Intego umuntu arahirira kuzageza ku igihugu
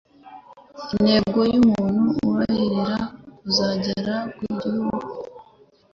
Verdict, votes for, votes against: rejected, 1, 2